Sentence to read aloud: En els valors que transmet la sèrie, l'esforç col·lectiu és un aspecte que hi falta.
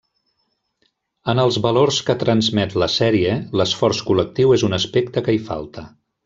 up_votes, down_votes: 3, 0